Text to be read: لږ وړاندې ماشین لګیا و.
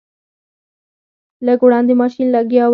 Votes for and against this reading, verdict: 0, 4, rejected